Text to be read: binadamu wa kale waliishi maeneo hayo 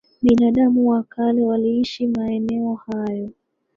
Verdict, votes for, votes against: rejected, 1, 2